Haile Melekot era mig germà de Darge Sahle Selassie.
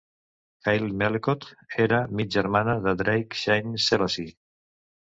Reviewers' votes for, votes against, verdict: 1, 2, rejected